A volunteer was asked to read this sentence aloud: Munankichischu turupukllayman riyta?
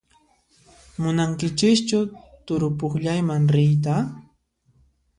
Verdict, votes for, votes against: accepted, 2, 0